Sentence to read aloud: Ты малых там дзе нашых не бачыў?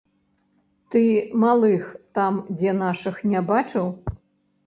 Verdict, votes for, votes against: rejected, 0, 2